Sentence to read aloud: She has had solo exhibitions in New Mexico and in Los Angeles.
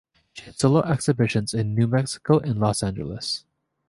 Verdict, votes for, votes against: rejected, 2, 4